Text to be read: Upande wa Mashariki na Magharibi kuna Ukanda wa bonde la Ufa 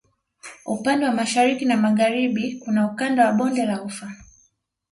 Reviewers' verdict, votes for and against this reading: accepted, 2, 0